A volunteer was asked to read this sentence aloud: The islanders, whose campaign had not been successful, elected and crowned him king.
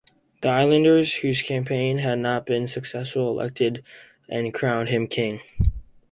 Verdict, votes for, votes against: accepted, 4, 0